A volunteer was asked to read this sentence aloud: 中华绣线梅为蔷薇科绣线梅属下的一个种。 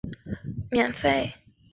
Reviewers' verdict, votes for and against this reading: rejected, 0, 3